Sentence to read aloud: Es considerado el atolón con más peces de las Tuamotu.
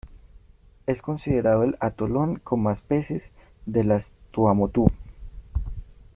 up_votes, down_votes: 1, 2